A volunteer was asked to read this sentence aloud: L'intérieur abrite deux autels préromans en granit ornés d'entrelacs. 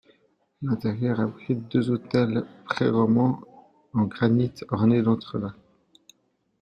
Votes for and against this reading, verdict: 2, 0, accepted